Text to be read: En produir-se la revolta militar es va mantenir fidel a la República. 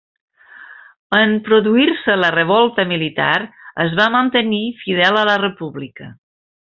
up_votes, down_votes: 3, 0